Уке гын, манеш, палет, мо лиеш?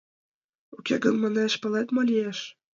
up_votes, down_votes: 2, 0